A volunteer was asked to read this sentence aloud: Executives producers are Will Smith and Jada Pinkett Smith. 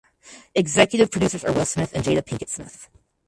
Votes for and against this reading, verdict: 4, 2, accepted